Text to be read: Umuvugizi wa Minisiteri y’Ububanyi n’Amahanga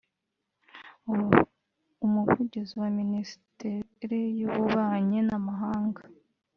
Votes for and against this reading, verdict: 1, 2, rejected